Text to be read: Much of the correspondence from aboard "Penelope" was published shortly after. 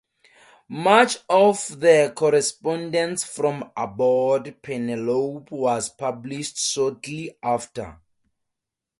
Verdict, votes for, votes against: accepted, 2, 0